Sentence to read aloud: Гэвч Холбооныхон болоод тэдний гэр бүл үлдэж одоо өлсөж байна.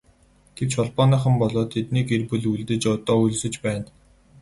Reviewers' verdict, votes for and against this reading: rejected, 0, 2